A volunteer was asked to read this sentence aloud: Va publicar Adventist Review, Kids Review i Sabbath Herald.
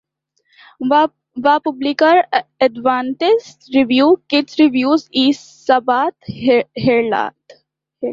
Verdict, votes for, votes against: rejected, 0, 2